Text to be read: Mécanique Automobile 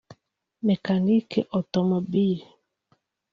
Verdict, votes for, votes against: rejected, 1, 2